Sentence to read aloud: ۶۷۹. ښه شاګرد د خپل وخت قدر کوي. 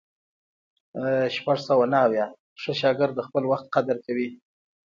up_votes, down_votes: 0, 2